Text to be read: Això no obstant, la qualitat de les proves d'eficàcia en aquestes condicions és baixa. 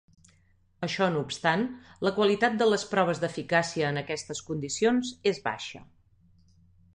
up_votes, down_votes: 3, 0